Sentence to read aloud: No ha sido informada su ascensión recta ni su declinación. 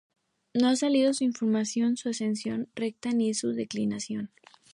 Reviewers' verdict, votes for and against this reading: rejected, 0, 2